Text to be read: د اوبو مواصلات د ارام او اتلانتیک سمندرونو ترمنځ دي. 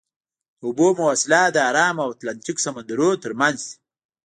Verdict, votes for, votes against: rejected, 1, 2